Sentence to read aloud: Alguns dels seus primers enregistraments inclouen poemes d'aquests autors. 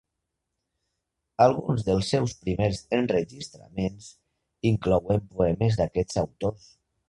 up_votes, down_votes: 3, 1